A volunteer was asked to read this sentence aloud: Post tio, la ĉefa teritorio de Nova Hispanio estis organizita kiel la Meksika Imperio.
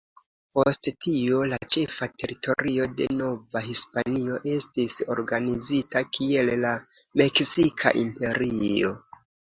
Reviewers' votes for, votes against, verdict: 1, 2, rejected